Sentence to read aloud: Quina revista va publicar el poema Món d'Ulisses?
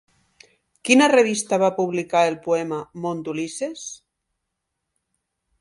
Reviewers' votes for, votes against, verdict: 2, 0, accepted